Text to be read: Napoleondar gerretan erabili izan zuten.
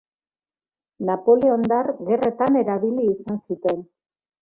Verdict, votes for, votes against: accepted, 2, 0